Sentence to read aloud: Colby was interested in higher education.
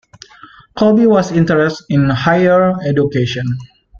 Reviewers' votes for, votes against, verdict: 2, 0, accepted